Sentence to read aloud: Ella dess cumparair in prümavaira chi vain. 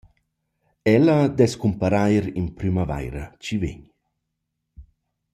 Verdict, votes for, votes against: accepted, 2, 0